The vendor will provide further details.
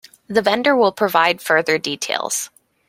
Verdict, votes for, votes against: accepted, 2, 1